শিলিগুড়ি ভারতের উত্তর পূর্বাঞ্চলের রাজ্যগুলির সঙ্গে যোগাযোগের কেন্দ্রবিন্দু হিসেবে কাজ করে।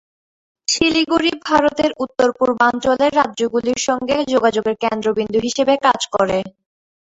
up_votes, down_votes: 5, 8